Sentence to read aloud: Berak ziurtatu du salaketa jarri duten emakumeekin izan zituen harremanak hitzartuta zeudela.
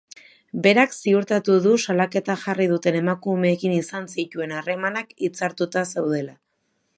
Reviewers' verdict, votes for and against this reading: accepted, 2, 0